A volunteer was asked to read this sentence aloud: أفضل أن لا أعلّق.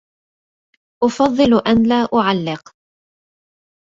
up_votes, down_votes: 0, 2